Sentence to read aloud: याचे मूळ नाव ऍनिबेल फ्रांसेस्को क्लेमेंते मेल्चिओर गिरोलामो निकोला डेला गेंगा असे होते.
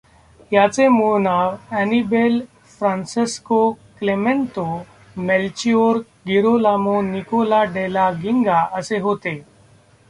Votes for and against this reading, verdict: 0, 2, rejected